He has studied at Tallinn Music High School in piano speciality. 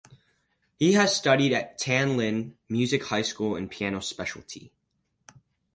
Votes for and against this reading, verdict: 0, 4, rejected